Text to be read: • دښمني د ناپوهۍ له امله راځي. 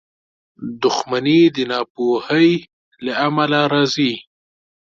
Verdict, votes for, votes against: accepted, 2, 0